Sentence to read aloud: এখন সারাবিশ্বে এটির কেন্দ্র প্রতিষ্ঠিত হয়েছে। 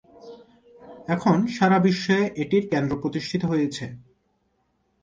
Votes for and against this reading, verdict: 2, 0, accepted